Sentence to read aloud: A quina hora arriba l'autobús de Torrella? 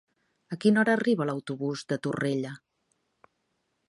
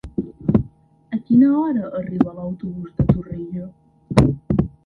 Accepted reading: first